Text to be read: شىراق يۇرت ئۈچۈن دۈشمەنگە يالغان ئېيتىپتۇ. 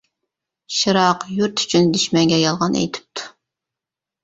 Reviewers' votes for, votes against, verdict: 2, 0, accepted